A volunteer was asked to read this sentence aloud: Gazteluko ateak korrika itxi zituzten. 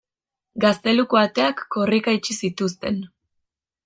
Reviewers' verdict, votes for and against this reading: accepted, 2, 0